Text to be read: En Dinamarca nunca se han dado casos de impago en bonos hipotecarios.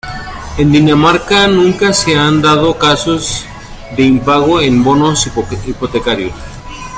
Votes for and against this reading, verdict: 0, 3, rejected